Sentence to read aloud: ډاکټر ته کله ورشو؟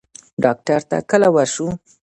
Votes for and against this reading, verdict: 1, 2, rejected